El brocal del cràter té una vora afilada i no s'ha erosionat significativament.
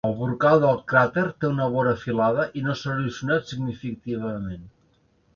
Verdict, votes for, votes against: rejected, 1, 2